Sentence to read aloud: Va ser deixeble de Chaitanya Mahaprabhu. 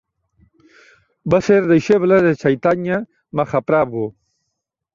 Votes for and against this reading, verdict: 2, 1, accepted